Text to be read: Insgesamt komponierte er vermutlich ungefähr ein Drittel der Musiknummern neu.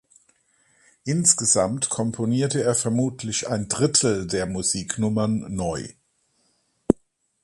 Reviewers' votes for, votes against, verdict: 0, 4, rejected